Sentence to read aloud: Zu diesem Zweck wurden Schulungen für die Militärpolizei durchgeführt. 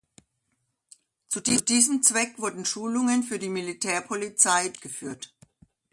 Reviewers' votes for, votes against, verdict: 0, 2, rejected